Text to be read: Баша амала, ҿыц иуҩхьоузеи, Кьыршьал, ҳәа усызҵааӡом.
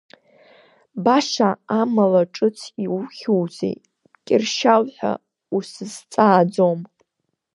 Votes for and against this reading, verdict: 1, 2, rejected